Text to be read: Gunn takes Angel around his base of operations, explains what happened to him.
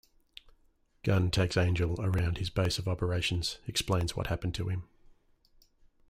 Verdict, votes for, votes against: rejected, 1, 2